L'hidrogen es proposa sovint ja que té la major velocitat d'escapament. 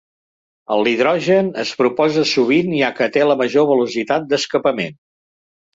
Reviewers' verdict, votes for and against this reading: rejected, 1, 3